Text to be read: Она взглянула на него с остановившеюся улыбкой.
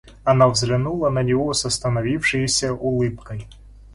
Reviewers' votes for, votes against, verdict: 2, 0, accepted